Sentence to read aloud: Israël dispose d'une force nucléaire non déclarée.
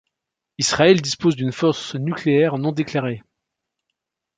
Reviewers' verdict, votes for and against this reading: accepted, 2, 0